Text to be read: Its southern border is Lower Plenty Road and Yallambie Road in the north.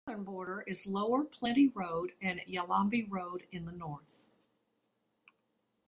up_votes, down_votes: 1, 2